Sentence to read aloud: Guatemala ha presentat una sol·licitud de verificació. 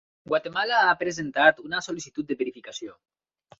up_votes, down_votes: 3, 0